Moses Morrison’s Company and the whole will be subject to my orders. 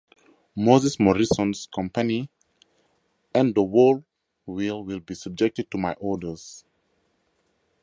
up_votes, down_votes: 4, 0